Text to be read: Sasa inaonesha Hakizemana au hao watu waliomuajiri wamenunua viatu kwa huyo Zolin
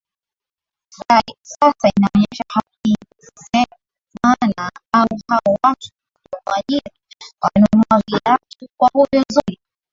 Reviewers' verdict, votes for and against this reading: rejected, 0, 2